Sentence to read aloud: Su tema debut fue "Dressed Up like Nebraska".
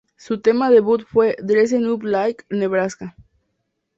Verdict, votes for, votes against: rejected, 0, 2